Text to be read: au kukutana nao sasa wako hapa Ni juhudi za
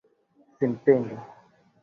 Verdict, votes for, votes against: rejected, 0, 2